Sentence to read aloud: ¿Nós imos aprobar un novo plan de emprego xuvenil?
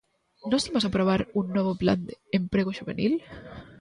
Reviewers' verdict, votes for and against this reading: rejected, 0, 2